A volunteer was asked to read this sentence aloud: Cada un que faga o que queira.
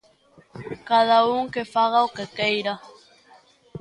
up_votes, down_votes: 2, 0